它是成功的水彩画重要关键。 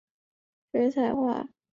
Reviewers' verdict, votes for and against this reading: rejected, 0, 2